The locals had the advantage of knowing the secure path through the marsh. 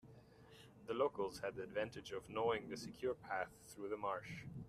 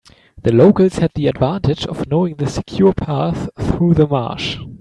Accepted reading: second